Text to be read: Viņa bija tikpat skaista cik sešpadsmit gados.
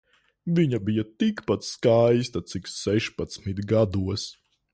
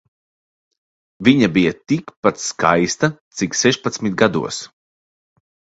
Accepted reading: second